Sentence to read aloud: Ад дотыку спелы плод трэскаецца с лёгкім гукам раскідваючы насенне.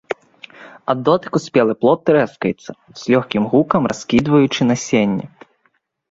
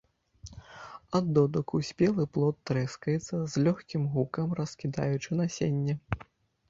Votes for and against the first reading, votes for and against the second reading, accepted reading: 2, 0, 0, 2, first